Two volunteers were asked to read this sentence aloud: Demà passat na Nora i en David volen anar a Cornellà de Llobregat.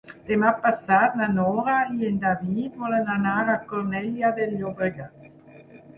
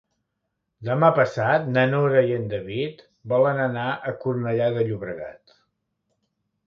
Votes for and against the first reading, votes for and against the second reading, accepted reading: 2, 4, 3, 0, second